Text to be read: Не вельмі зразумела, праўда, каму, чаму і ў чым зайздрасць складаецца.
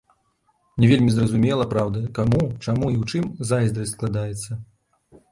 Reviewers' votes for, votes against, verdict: 1, 2, rejected